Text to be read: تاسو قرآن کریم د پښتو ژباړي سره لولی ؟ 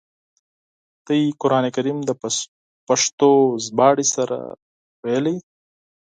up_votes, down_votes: 0, 4